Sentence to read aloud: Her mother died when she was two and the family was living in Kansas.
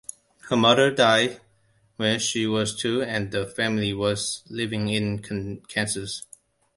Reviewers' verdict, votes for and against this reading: accepted, 2, 1